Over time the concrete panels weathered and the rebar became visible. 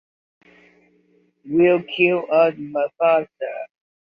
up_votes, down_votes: 0, 2